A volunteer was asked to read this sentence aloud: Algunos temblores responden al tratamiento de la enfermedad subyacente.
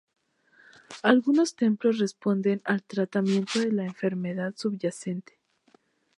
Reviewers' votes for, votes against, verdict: 0, 2, rejected